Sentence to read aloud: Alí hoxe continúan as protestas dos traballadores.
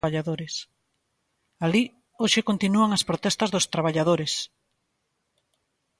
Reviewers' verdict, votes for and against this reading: rejected, 0, 2